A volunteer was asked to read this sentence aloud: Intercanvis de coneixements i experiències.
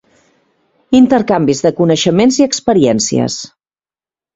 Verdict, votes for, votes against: accepted, 2, 0